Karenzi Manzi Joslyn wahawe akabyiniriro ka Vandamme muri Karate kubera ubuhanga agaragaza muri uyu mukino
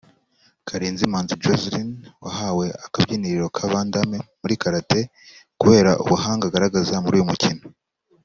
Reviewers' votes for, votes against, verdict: 2, 0, accepted